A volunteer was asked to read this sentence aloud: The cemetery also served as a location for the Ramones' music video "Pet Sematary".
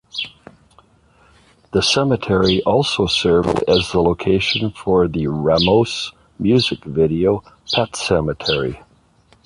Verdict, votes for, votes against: rejected, 0, 2